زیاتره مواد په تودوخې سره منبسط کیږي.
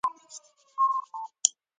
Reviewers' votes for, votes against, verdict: 0, 2, rejected